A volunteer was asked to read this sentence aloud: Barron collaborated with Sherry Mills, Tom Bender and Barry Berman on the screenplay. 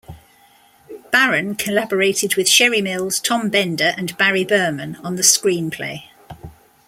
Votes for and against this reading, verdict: 2, 1, accepted